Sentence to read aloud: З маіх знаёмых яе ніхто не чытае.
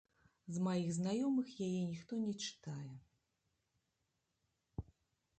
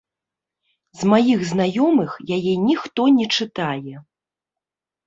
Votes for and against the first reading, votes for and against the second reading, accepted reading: 0, 2, 2, 0, second